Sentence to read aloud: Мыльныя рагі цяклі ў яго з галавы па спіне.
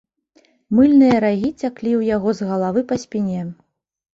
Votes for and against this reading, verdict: 3, 0, accepted